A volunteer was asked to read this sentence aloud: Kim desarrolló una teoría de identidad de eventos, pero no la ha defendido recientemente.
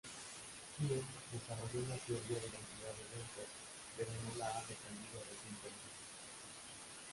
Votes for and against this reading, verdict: 0, 2, rejected